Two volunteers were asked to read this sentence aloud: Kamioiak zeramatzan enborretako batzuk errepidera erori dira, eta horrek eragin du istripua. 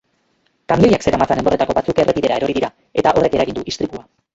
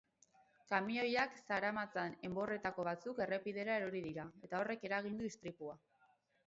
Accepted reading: second